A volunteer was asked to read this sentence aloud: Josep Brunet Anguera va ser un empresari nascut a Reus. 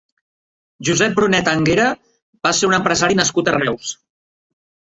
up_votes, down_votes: 3, 0